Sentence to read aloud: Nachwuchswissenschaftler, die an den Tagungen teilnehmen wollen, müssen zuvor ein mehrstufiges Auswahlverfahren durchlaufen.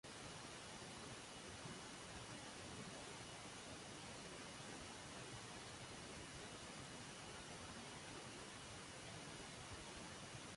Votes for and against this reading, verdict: 0, 2, rejected